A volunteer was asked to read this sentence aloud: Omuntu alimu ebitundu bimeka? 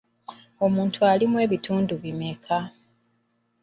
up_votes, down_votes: 1, 2